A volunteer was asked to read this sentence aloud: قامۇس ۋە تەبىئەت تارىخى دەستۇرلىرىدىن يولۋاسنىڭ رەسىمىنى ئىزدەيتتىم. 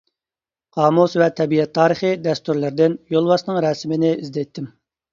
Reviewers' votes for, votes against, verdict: 2, 0, accepted